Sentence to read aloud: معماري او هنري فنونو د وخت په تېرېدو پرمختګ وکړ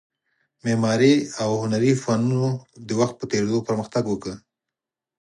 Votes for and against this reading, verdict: 4, 0, accepted